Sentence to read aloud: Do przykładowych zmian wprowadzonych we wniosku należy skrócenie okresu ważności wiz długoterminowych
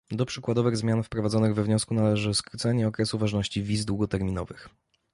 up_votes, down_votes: 2, 1